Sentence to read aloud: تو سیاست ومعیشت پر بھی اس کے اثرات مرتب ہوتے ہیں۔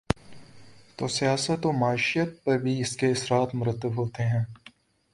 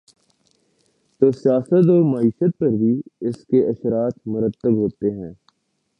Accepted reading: first